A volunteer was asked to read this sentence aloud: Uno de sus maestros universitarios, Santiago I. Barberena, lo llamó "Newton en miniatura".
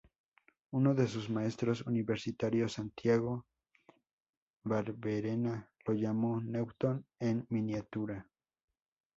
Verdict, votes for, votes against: rejected, 0, 2